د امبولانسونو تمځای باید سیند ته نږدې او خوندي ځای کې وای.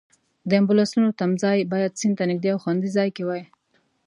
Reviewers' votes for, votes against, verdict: 2, 0, accepted